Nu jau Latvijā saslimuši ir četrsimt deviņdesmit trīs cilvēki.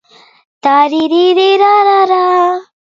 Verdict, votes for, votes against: rejected, 0, 2